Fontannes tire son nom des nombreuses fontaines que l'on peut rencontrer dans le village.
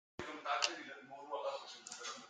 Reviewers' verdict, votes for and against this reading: rejected, 0, 2